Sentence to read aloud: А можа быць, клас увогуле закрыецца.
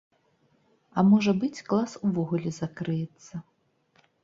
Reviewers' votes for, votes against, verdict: 2, 0, accepted